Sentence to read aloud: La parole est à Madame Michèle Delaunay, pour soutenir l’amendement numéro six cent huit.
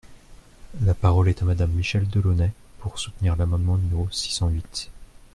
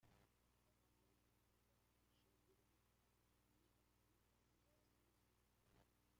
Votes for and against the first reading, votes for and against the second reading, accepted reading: 2, 0, 0, 2, first